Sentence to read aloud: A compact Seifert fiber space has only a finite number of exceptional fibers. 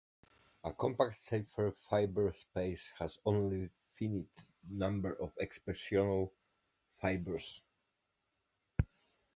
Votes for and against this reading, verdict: 2, 0, accepted